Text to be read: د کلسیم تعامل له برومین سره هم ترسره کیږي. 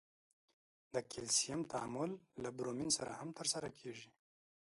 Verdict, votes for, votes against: accepted, 2, 0